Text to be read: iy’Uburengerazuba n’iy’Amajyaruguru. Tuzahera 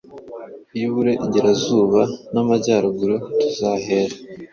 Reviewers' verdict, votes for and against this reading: rejected, 1, 2